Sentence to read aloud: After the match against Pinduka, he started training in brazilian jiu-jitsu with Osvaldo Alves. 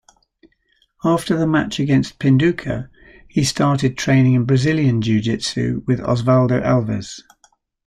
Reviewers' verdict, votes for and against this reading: accepted, 2, 1